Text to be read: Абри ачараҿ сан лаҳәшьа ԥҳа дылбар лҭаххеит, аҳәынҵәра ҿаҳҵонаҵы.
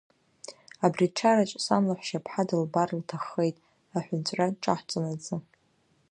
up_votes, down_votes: 2, 0